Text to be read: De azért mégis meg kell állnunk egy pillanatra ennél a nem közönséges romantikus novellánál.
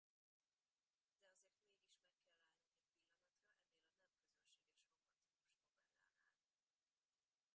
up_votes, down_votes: 0, 2